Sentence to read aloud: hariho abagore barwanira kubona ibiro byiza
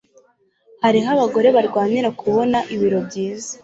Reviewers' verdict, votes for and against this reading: accepted, 2, 0